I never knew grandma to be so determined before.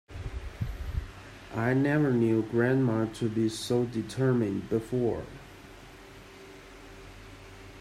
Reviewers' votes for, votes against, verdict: 2, 1, accepted